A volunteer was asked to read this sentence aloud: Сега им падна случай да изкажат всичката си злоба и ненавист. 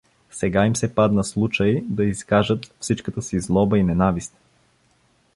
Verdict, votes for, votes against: rejected, 0, 2